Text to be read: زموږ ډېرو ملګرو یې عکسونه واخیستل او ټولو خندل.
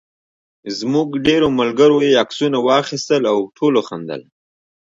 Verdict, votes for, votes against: rejected, 0, 2